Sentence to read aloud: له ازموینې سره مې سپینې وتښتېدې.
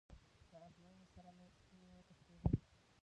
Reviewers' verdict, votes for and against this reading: rejected, 0, 2